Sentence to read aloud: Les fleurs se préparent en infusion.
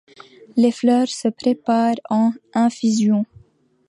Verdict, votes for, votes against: accepted, 2, 0